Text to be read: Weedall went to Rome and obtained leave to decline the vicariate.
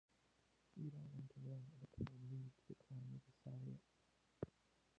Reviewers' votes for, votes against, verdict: 0, 2, rejected